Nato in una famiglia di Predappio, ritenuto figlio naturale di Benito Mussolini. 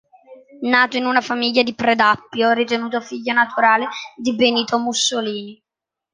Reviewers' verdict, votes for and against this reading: accepted, 3, 0